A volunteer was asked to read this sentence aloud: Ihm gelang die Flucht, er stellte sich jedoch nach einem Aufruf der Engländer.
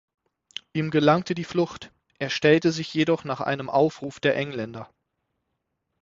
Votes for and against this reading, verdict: 0, 6, rejected